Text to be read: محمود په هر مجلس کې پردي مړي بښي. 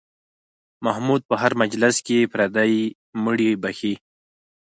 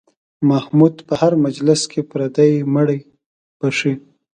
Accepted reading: second